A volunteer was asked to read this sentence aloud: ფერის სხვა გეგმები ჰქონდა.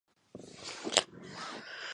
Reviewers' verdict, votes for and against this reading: rejected, 0, 2